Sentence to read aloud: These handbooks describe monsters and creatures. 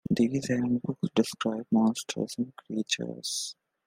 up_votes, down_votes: 2, 0